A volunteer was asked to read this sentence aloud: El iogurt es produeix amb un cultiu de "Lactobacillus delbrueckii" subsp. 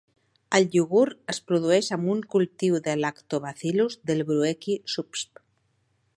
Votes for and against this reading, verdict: 2, 0, accepted